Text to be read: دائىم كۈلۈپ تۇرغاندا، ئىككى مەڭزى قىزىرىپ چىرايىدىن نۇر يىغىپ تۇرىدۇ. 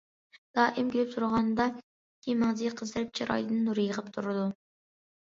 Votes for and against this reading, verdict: 0, 2, rejected